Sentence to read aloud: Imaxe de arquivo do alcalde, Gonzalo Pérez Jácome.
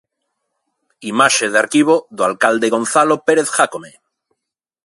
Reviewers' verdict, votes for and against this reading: accepted, 2, 0